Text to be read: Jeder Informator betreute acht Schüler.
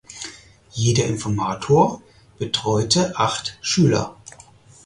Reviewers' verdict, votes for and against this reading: accepted, 4, 0